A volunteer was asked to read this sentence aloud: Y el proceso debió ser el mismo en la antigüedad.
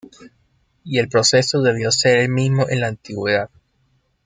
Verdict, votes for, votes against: accepted, 2, 0